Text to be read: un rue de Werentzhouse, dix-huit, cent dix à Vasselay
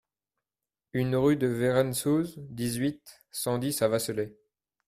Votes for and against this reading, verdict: 0, 2, rejected